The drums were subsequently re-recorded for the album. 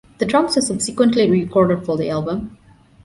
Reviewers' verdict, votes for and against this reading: rejected, 0, 2